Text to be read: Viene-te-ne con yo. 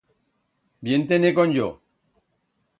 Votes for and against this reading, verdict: 1, 2, rejected